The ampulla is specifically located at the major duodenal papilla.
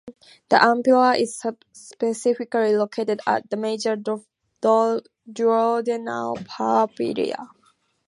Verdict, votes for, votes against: rejected, 0, 4